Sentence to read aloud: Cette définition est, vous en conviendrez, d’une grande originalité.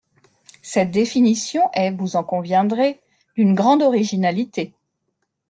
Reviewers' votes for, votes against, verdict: 2, 0, accepted